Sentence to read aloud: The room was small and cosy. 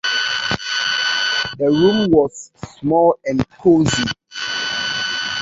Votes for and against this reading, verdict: 1, 2, rejected